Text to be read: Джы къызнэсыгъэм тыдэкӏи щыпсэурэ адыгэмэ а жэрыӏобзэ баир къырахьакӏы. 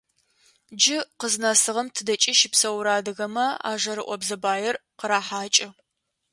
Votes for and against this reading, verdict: 2, 0, accepted